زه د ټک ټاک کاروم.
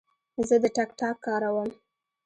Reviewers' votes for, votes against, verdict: 2, 0, accepted